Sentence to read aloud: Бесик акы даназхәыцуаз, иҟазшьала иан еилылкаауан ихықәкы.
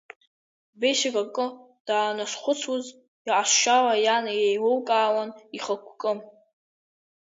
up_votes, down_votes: 0, 2